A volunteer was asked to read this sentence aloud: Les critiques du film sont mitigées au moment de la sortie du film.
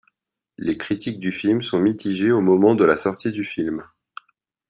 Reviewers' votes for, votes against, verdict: 4, 0, accepted